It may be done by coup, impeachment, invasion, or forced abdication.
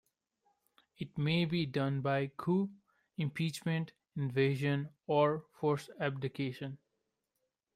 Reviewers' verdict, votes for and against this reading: accepted, 2, 0